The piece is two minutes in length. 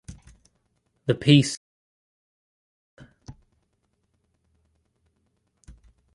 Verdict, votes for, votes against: rejected, 0, 2